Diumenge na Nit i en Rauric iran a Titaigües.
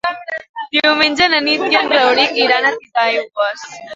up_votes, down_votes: 1, 2